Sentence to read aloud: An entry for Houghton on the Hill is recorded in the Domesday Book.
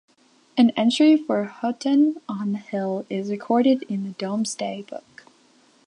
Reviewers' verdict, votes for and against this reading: rejected, 0, 2